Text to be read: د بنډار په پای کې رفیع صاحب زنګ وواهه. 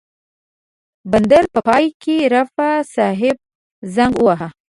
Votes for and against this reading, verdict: 1, 2, rejected